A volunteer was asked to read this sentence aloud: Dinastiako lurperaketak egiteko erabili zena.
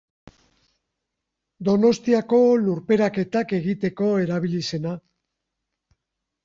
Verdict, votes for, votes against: rejected, 0, 3